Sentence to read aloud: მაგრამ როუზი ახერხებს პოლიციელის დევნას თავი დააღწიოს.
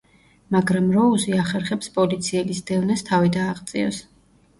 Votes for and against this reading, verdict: 0, 2, rejected